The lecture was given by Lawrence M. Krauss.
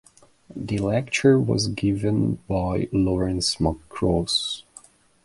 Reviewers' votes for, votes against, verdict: 1, 2, rejected